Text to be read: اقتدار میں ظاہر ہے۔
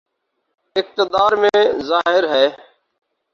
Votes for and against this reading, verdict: 4, 0, accepted